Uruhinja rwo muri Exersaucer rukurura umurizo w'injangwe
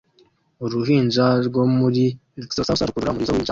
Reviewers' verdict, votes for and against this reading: rejected, 0, 2